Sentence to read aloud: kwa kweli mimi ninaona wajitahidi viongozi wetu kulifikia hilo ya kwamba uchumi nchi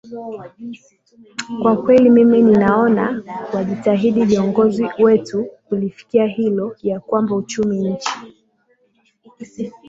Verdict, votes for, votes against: rejected, 0, 2